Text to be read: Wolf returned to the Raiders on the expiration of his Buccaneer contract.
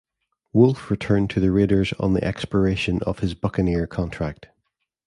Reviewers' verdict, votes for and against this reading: accepted, 2, 0